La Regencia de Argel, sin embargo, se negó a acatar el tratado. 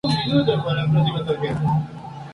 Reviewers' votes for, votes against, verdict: 0, 2, rejected